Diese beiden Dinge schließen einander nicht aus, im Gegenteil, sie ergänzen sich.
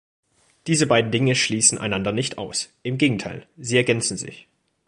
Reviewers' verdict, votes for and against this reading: accepted, 2, 0